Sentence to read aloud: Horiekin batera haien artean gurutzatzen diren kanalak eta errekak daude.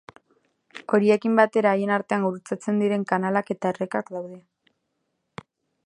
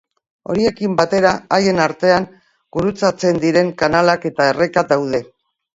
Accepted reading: first